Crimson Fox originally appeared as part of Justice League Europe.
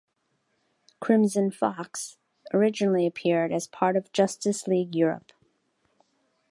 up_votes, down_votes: 2, 0